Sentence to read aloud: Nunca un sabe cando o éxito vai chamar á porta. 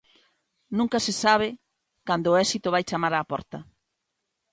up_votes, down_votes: 1, 2